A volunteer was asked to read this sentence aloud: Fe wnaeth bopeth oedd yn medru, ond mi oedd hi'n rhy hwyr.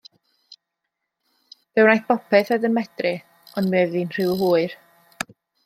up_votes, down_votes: 2, 0